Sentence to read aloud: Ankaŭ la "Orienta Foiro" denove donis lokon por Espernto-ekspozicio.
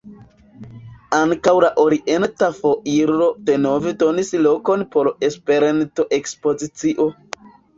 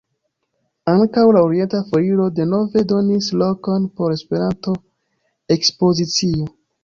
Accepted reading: second